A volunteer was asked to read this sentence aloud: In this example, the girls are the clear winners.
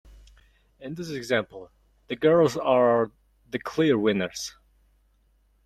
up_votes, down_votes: 2, 0